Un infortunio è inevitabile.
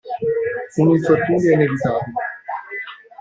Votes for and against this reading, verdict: 0, 2, rejected